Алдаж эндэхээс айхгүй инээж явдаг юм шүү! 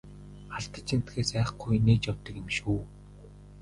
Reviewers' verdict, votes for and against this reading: rejected, 1, 2